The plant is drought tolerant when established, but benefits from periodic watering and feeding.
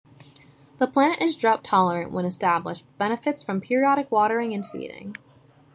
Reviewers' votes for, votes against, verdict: 0, 2, rejected